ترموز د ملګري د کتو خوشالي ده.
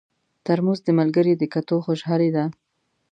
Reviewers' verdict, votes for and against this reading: accepted, 2, 0